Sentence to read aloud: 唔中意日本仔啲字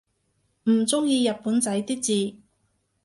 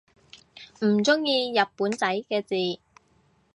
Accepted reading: first